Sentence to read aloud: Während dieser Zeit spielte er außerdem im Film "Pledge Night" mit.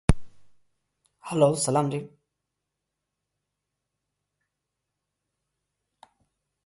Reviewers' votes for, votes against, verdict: 0, 2, rejected